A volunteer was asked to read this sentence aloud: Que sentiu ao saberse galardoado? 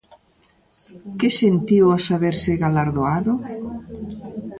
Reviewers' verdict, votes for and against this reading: accepted, 2, 1